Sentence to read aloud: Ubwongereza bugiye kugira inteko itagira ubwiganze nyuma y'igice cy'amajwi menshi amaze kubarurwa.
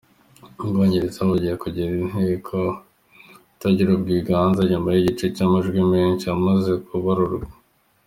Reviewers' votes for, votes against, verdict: 2, 1, accepted